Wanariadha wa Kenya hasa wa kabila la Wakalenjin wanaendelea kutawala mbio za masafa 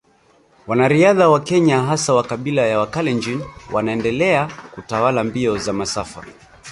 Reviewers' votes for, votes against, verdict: 0, 2, rejected